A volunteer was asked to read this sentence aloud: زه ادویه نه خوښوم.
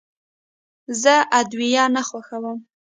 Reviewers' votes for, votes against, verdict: 2, 0, accepted